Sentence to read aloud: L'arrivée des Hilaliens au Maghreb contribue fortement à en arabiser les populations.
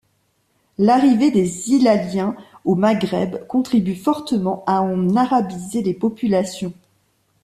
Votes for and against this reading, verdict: 1, 2, rejected